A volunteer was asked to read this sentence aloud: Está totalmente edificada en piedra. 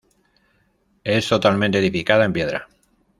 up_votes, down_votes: 0, 2